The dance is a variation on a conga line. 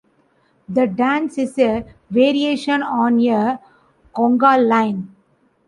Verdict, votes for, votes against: rejected, 0, 2